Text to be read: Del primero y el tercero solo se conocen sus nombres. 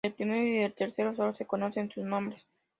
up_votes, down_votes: 0, 2